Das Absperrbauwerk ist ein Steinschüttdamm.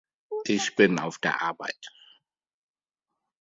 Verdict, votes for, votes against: rejected, 2, 3